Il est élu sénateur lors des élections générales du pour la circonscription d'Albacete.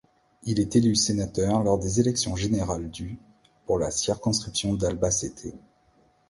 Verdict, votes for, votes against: accepted, 2, 0